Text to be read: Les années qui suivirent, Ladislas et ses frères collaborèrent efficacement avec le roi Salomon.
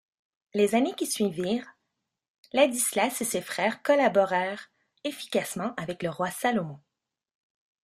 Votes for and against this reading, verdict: 2, 0, accepted